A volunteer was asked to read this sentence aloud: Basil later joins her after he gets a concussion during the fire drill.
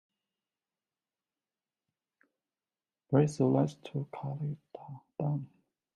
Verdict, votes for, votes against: rejected, 0, 2